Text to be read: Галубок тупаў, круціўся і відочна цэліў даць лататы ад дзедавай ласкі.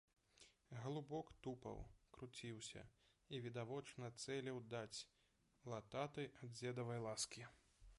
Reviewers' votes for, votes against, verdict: 1, 2, rejected